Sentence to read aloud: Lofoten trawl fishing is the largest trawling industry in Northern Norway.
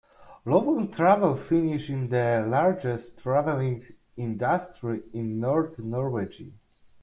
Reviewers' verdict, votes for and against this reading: rejected, 0, 2